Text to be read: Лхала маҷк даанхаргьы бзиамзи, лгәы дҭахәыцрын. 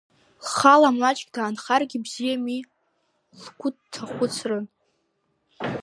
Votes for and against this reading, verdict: 0, 2, rejected